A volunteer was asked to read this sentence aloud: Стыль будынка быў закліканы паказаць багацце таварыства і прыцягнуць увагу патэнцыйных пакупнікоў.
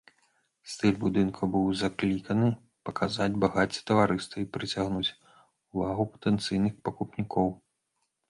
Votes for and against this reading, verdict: 2, 0, accepted